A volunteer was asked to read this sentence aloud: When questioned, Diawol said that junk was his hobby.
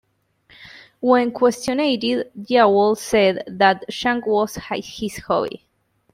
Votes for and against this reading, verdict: 2, 0, accepted